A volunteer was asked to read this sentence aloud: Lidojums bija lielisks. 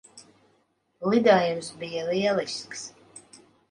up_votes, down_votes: 2, 0